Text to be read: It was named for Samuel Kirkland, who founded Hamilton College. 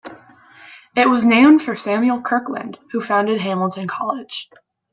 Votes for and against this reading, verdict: 2, 0, accepted